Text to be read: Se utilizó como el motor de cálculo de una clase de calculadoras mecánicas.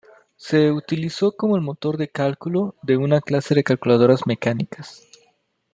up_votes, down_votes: 2, 0